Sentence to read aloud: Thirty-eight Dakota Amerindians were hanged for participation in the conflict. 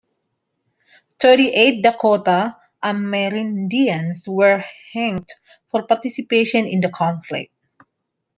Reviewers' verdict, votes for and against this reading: rejected, 1, 3